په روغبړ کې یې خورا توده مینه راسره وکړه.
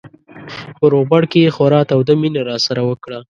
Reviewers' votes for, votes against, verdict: 2, 0, accepted